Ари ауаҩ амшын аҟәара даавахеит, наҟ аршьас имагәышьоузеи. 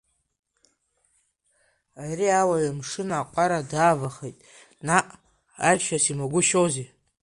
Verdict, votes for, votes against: rejected, 0, 2